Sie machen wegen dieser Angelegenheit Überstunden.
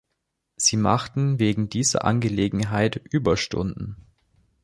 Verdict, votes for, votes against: rejected, 1, 2